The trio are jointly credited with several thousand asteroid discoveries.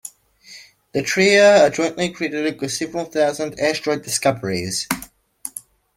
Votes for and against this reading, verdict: 2, 0, accepted